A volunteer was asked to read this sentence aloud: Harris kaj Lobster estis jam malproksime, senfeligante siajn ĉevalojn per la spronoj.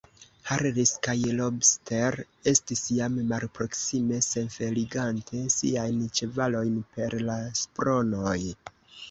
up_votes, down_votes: 1, 2